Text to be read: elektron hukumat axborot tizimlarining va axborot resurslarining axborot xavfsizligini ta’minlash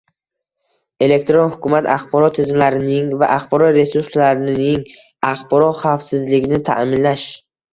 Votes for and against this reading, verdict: 0, 2, rejected